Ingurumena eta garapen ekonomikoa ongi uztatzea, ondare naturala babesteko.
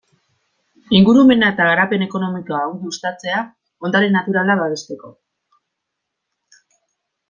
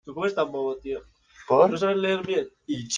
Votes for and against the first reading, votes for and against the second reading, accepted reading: 2, 0, 0, 2, first